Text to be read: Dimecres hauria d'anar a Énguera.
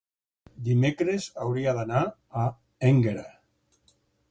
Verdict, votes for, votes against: accepted, 4, 0